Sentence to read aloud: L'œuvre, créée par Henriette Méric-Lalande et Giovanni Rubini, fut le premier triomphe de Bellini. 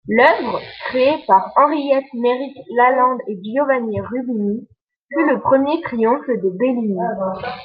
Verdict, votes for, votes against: rejected, 0, 2